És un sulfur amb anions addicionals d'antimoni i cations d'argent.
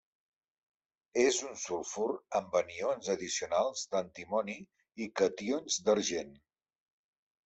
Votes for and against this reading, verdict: 0, 2, rejected